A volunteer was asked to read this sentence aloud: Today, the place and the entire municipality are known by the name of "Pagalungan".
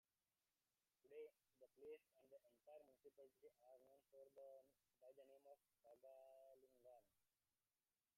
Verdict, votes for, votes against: rejected, 0, 2